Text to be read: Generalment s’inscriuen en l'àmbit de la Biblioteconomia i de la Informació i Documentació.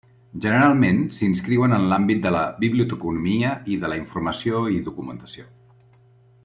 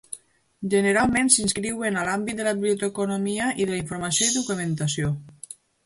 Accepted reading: first